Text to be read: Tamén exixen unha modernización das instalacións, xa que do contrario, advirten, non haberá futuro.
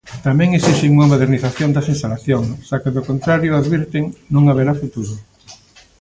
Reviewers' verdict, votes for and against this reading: accepted, 2, 0